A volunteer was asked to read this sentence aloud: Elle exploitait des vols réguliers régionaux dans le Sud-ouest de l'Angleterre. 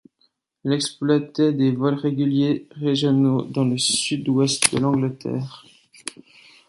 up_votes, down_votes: 1, 2